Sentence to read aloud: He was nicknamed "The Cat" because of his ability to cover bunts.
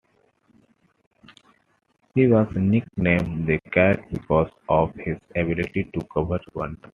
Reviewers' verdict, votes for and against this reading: accepted, 2, 1